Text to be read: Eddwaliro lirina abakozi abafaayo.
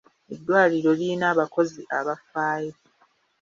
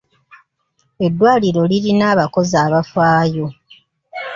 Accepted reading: first